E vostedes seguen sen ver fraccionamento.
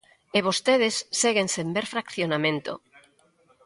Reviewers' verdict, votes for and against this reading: accepted, 2, 1